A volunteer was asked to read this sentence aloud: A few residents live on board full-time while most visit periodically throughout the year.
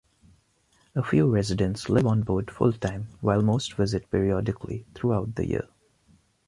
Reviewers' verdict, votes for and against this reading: accepted, 2, 0